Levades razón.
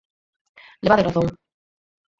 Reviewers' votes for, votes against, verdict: 0, 4, rejected